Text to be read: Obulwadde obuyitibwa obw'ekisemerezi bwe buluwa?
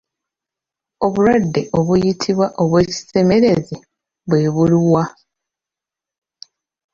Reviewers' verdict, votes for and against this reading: accepted, 2, 1